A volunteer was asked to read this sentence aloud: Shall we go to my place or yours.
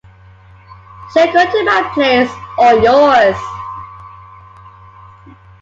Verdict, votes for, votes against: accepted, 3, 2